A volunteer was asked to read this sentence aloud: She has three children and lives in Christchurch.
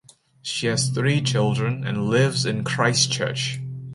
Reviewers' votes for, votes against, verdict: 2, 0, accepted